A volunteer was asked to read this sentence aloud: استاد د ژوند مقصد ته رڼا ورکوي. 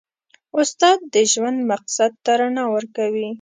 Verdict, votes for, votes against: accepted, 2, 0